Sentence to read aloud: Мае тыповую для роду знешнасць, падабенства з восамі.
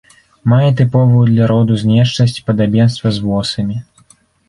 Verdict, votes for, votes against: accepted, 2, 0